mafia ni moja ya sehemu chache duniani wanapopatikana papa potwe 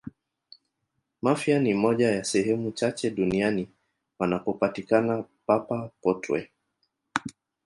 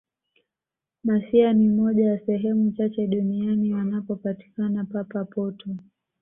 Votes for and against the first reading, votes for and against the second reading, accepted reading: 1, 2, 2, 0, second